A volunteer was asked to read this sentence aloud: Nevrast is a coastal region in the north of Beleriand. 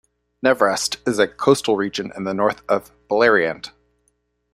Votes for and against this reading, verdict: 2, 0, accepted